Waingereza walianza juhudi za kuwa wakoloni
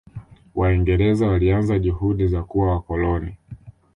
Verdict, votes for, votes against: accepted, 2, 0